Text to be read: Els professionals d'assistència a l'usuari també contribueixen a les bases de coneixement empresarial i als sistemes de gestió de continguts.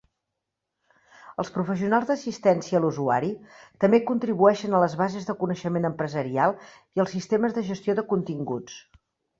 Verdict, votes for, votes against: accepted, 3, 0